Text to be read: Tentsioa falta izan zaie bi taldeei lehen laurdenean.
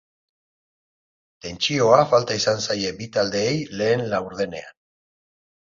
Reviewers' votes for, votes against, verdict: 4, 0, accepted